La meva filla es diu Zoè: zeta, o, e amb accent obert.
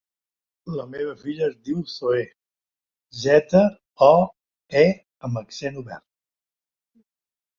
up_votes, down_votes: 3, 1